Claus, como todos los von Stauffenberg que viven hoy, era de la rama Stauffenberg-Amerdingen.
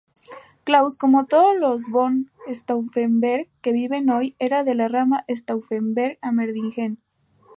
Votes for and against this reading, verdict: 0, 2, rejected